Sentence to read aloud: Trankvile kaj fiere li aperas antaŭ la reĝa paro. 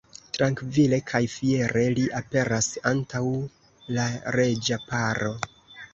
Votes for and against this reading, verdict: 1, 2, rejected